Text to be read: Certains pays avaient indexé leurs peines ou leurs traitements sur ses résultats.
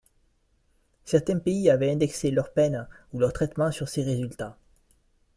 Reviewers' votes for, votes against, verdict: 2, 0, accepted